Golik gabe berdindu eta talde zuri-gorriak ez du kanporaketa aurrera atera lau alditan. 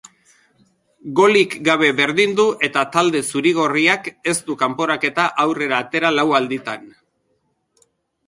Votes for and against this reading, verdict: 3, 0, accepted